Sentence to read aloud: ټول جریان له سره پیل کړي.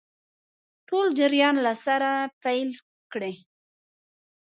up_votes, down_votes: 0, 2